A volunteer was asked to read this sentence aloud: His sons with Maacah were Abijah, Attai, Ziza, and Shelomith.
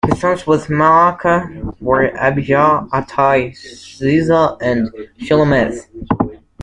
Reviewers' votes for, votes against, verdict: 0, 2, rejected